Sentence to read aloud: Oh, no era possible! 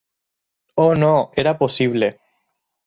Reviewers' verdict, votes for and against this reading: accepted, 4, 2